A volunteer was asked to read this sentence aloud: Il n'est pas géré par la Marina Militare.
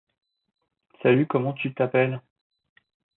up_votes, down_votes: 1, 2